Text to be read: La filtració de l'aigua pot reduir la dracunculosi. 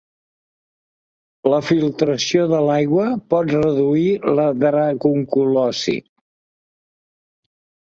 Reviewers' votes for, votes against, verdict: 2, 0, accepted